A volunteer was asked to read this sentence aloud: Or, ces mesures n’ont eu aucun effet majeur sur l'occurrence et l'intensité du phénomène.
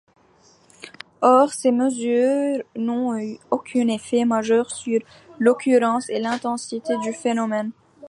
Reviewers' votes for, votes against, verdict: 1, 2, rejected